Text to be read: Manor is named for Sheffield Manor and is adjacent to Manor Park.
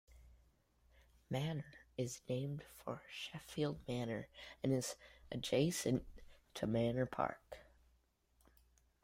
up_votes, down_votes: 2, 0